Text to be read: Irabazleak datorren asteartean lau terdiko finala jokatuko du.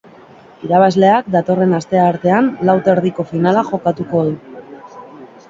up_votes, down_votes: 2, 0